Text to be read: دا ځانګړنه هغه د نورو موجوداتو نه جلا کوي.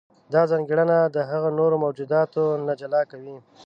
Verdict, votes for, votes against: rejected, 0, 2